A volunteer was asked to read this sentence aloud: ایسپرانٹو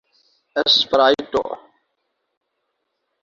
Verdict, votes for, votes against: rejected, 0, 2